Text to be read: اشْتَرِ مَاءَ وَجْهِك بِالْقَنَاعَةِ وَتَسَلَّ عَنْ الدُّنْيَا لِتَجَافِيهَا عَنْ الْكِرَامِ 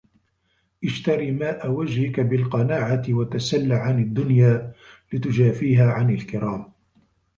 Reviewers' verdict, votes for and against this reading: rejected, 1, 2